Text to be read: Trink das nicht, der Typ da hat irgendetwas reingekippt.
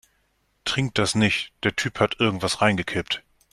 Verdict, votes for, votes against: rejected, 0, 2